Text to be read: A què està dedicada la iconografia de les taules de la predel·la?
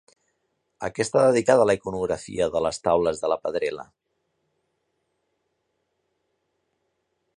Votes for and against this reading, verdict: 0, 2, rejected